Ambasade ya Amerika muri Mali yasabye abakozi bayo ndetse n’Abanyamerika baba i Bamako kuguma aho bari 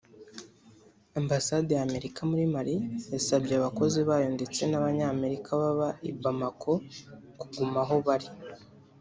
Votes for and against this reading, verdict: 3, 0, accepted